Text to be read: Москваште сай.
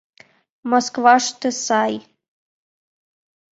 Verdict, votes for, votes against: accepted, 2, 0